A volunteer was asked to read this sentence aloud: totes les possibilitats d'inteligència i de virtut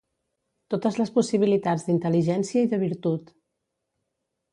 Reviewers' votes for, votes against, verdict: 3, 0, accepted